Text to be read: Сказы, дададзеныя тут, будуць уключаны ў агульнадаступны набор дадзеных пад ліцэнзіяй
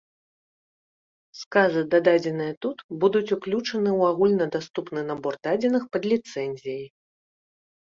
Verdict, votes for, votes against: accepted, 2, 0